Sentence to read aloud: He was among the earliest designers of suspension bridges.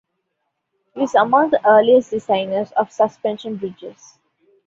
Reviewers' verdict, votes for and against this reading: accepted, 2, 1